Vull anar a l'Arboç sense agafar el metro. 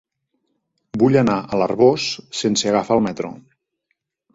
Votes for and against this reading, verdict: 2, 0, accepted